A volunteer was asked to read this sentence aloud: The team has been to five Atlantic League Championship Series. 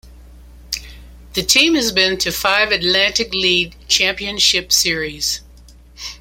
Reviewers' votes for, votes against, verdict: 2, 0, accepted